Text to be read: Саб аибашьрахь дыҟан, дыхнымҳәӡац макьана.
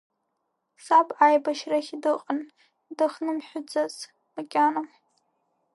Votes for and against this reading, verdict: 1, 2, rejected